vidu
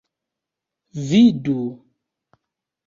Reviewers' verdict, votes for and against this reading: accepted, 2, 0